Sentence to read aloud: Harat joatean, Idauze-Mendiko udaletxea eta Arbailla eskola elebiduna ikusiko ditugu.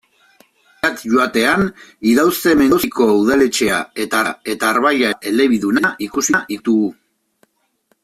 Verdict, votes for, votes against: rejected, 0, 2